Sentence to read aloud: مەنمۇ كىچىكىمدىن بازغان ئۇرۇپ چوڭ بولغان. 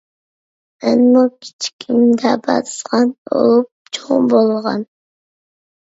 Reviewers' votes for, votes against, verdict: 1, 2, rejected